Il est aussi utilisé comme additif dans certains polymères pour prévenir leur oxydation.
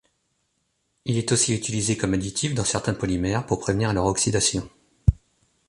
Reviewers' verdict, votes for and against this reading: accepted, 2, 0